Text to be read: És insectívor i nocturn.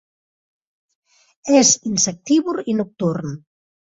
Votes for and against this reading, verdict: 3, 0, accepted